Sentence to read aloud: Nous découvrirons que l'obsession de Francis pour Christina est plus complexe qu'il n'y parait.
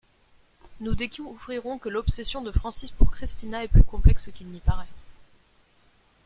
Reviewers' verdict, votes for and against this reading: rejected, 1, 2